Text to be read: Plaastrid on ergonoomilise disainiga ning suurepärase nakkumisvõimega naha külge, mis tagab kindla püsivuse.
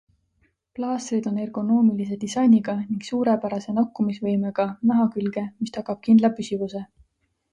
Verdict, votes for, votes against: accepted, 2, 0